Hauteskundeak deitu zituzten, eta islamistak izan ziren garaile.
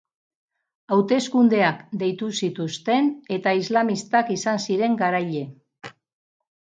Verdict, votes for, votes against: accepted, 4, 0